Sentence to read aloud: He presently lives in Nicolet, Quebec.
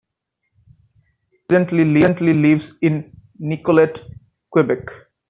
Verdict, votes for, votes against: rejected, 0, 2